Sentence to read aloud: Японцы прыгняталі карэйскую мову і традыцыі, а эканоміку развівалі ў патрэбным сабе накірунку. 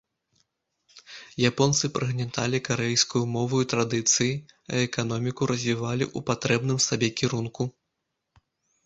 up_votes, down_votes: 1, 2